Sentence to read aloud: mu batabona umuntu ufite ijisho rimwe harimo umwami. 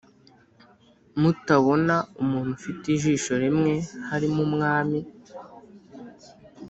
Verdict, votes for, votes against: rejected, 1, 2